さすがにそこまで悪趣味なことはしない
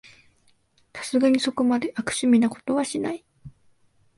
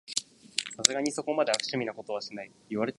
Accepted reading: first